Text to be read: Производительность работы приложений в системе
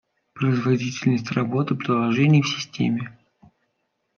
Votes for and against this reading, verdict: 2, 0, accepted